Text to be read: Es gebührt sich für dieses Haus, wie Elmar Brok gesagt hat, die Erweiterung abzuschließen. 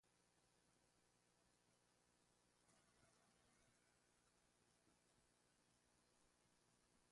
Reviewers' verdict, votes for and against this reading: rejected, 0, 2